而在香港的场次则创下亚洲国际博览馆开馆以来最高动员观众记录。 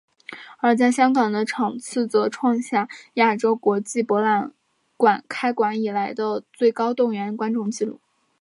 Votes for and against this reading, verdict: 3, 0, accepted